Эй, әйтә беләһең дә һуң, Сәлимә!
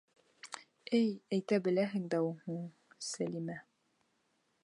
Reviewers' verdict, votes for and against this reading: rejected, 1, 2